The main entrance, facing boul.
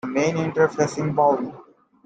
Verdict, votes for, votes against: rejected, 1, 2